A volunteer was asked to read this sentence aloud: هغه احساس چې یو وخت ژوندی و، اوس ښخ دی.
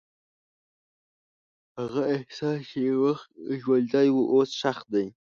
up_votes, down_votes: 1, 2